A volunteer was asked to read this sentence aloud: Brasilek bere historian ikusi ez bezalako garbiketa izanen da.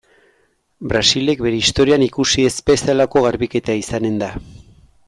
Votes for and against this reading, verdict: 2, 0, accepted